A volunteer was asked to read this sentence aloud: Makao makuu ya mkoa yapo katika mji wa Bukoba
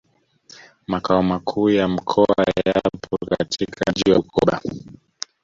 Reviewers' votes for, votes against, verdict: 0, 2, rejected